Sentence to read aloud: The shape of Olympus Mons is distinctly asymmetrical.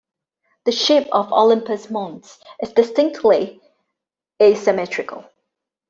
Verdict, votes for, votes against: accepted, 2, 0